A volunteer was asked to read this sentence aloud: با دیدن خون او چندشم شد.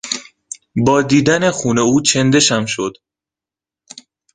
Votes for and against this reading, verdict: 2, 0, accepted